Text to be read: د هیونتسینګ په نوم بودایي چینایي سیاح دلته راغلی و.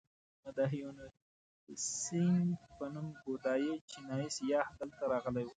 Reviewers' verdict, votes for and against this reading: rejected, 1, 2